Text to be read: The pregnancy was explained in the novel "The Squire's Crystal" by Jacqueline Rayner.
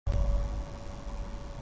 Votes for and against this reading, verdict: 0, 2, rejected